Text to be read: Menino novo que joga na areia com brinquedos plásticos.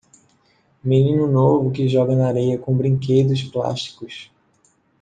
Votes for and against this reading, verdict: 2, 0, accepted